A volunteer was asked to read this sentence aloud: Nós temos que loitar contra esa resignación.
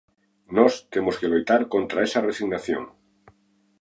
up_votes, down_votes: 2, 0